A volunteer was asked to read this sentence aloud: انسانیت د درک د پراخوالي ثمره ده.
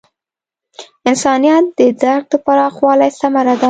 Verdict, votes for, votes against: accepted, 2, 0